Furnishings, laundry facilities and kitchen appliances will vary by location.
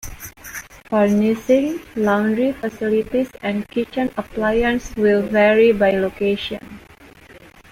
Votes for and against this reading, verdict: 1, 2, rejected